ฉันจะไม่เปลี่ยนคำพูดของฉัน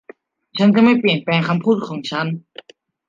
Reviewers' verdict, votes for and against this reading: rejected, 1, 2